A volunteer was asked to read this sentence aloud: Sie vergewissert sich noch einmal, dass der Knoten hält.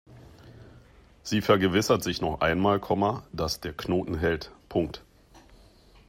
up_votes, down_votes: 0, 2